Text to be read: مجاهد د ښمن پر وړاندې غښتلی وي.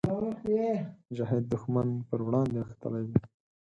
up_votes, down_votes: 0, 4